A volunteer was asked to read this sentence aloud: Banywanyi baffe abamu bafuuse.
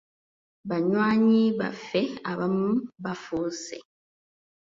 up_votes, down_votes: 2, 0